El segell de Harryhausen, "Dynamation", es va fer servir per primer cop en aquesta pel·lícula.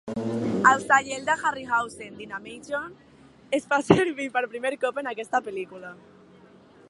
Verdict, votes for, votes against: accepted, 2, 0